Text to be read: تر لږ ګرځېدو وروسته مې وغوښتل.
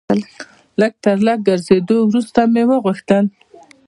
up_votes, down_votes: 2, 0